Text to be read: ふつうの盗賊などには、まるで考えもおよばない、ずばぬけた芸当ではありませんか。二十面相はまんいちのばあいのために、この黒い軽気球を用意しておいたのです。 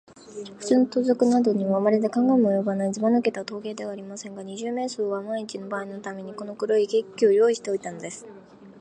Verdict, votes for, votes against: rejected, 1, 2